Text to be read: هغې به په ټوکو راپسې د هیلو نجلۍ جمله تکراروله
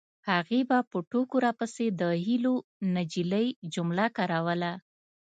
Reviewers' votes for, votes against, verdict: 2, 0, accepted